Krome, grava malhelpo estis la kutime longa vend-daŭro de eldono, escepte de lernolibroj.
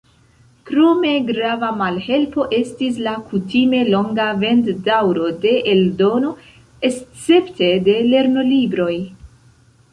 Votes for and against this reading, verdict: 2, 1, accepted